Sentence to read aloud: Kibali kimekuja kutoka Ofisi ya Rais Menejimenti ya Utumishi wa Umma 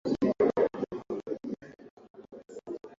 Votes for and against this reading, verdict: 0, 2, rejected